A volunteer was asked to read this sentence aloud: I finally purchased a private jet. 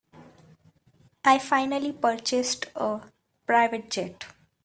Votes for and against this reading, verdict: 0, 2, rejected